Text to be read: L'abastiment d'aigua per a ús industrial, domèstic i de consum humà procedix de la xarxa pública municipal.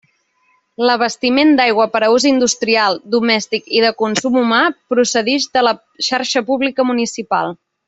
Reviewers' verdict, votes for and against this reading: accepted, 3, 0